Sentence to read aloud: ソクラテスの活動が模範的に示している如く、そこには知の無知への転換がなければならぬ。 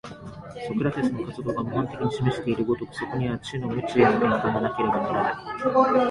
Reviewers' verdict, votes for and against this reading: accepted, 2, 0